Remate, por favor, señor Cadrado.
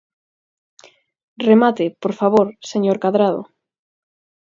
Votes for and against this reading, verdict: 4, 0, accepted